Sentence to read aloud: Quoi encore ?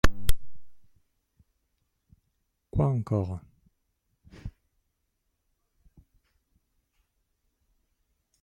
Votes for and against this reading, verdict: 1, 2, rejected